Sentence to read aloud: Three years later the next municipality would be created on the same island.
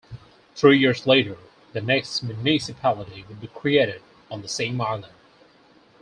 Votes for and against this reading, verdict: 0, 4, rejected